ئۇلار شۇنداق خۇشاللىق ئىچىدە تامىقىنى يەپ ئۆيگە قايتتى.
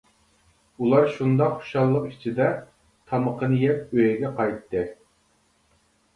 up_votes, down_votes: 2, 0